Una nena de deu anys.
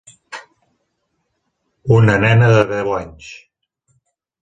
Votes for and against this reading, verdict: 2, 0, accepted